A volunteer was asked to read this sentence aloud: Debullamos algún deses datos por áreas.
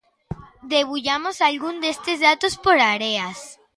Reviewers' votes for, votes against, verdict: 0, 2, rejected